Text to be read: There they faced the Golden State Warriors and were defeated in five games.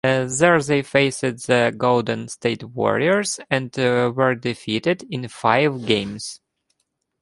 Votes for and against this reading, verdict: 1, 2, rejected